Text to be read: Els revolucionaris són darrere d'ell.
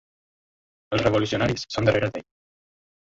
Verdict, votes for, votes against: rejected, 1, 2